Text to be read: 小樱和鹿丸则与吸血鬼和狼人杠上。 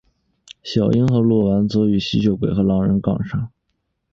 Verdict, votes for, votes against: accepted, 2, 0